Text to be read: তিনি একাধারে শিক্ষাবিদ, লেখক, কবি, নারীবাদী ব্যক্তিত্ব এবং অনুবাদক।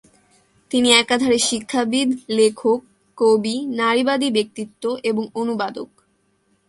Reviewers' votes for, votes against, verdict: 2, 0, accepted